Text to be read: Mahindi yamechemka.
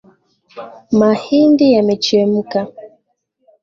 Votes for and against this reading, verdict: 2, 0, accepted